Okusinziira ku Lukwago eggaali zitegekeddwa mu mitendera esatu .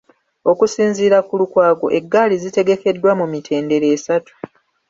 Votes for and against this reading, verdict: 2, 0, accepted